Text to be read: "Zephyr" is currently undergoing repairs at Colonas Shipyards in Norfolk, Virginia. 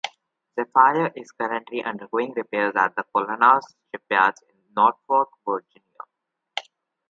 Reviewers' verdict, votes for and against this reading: rejected, 0, 2